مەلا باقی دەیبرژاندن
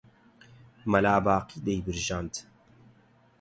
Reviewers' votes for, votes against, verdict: 4, 0, accepted